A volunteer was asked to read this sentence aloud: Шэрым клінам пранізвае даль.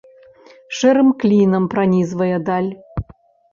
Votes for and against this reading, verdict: 3, 0, accepted